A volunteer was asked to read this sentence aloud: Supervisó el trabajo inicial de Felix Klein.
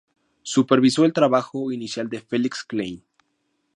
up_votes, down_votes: 2, 0